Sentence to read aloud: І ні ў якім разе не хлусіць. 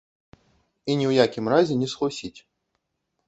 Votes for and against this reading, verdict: 0, 2, rejected